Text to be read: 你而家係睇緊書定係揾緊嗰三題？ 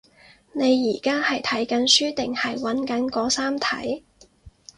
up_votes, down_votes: 4, 0